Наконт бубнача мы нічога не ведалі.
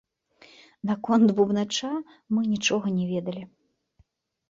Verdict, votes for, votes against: accepted, 2, 0